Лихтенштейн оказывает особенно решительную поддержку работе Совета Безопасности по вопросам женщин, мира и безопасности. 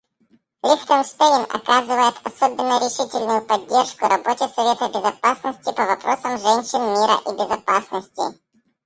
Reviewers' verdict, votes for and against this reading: rejected, 0, 4